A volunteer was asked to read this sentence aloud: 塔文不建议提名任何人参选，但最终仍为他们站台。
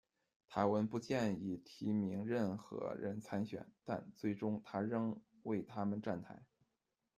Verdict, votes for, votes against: rejected, 1, 2